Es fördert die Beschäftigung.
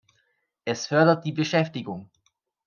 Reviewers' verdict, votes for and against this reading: accepted, 2, 0